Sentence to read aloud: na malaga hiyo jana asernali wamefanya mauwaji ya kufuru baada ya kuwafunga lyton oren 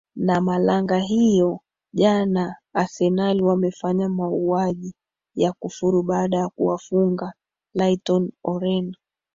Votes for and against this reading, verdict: 2, 1, accepted